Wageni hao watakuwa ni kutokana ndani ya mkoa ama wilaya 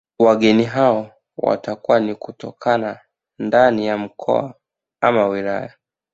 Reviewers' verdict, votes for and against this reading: accepted, 2, 1